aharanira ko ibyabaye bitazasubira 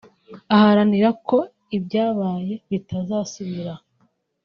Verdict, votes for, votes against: rejected, 1, 2